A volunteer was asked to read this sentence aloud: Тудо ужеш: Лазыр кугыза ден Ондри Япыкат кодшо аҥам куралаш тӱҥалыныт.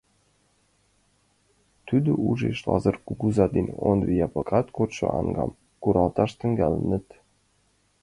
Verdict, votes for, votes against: rejected, 0, 2